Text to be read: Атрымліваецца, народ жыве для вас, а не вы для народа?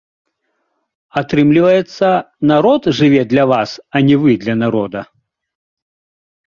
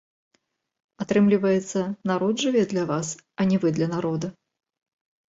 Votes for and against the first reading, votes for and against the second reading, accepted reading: 2, 0, 0, 3, first